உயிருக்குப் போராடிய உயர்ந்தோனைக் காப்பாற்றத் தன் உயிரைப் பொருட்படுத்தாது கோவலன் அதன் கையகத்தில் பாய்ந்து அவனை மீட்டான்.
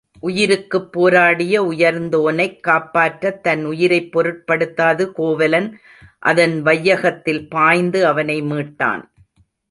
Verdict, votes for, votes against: rejected, 0, 2